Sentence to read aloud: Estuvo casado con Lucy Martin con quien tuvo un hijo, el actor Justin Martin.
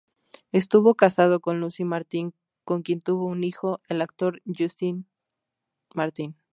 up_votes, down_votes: 2, 0